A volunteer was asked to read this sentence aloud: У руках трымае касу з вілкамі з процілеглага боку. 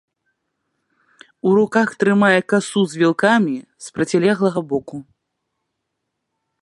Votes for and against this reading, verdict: 1, 2, rejected